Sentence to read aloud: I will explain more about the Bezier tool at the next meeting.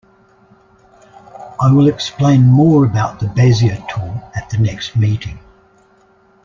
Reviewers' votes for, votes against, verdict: 2, 0, accepted